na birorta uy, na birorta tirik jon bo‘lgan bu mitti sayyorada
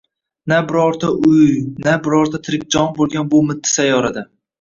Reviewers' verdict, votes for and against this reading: rejected, 1, 2